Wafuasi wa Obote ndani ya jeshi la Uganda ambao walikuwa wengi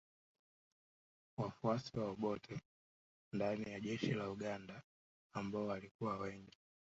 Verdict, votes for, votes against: rejected, 0, 2